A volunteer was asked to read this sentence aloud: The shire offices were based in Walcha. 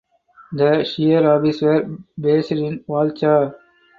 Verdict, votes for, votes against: rejected, 0, 4